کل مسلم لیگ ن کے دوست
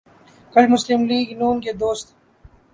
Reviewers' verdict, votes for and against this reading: accepted, 2, 0